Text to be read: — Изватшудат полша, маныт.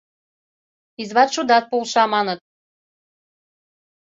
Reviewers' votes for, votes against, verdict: 2, 0, accepted